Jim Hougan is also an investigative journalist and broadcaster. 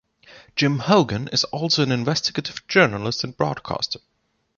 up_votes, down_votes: 2, 0